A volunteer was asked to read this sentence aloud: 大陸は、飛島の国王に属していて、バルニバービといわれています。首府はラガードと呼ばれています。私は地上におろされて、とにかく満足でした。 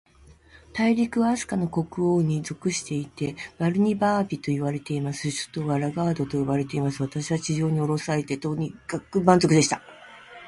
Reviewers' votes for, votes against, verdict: 2, 1, accepted